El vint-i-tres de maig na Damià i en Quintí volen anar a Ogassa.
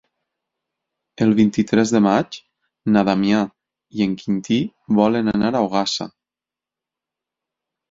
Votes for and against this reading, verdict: 6, 0, accepted